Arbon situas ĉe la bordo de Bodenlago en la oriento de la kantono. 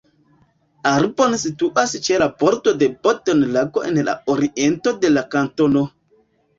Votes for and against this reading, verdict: 0, 2, rejected